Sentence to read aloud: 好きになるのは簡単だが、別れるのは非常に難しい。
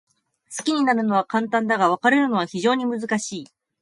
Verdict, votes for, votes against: accepted, 2, 0